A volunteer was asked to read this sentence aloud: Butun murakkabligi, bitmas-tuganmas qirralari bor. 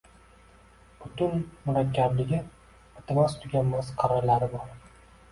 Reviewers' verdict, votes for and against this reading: accepted, 2, 1